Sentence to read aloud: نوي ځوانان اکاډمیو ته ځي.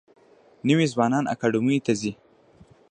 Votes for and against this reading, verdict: 0, 2, rejected